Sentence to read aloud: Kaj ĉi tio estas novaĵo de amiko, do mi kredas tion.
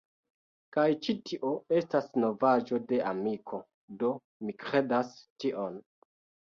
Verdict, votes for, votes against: accepted, 2, 1